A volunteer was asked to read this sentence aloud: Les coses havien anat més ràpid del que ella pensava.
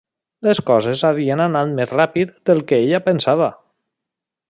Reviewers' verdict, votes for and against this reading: accepted, 3, 0